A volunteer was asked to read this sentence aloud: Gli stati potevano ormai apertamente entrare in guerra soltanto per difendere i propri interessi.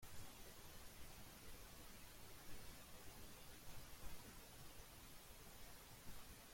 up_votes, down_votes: 0, 3